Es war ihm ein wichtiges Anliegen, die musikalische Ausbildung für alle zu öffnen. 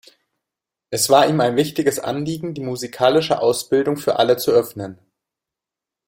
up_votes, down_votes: 2, 0